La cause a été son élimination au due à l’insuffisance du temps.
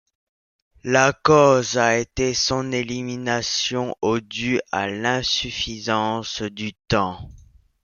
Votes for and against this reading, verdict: 2, 0, accepted